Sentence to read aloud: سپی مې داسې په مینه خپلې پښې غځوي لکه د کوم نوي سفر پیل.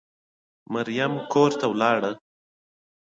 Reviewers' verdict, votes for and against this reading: rejected, 1, 2